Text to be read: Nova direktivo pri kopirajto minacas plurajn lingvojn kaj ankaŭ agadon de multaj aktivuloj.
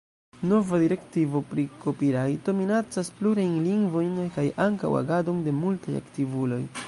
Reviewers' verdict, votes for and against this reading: rejected, 1, 2